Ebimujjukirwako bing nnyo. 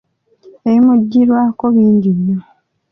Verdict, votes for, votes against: rejected, 1, 3